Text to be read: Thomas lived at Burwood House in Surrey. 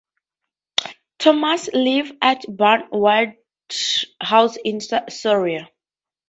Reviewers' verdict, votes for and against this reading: rejected, 0, 4